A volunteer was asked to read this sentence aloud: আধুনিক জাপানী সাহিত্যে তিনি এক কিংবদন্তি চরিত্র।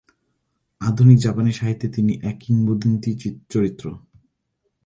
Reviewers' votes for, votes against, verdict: 1, 2, rejected